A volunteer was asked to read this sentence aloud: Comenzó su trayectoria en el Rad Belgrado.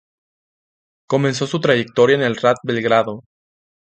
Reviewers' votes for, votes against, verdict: 0, 2, rejected